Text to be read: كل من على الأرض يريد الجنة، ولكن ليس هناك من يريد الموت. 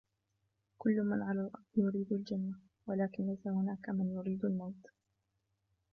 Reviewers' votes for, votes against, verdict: 1, 2, rejected